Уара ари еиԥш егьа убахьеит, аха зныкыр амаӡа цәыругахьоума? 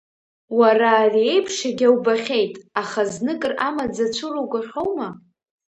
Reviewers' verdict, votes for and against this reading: accepted, 2, 0